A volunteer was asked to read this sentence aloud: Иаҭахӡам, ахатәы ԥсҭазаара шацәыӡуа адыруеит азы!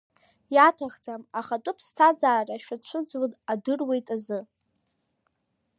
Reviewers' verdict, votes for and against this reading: accepted, 2, 0